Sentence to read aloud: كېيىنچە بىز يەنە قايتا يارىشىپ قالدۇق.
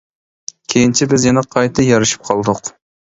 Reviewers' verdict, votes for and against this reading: accepted, 2, 0